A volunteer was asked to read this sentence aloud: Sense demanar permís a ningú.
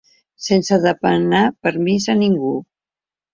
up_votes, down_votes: 1, 2